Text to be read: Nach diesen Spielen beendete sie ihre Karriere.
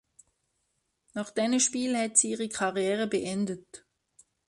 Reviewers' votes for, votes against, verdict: 0, 2, rejected